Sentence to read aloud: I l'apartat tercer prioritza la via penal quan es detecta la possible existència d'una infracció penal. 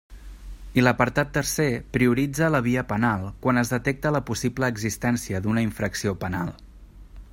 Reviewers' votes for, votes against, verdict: 3, 0, accepted